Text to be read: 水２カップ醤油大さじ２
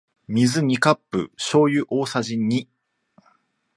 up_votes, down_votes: 0, 2